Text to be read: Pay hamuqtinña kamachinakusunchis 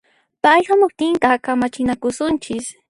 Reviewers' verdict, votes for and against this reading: rejected, 1, 2